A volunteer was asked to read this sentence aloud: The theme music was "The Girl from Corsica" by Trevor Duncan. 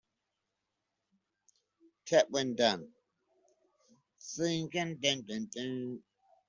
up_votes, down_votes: 0, 2